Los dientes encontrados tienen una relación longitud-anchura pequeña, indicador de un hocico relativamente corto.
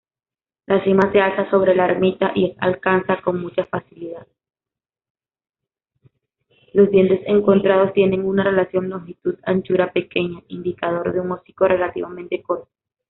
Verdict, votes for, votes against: rejected, 1, 2